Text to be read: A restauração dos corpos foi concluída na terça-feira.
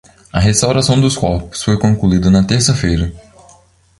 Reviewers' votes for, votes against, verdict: 2, 0, accepted